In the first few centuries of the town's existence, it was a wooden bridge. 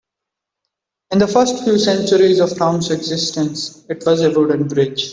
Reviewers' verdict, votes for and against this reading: rejected, 1, 2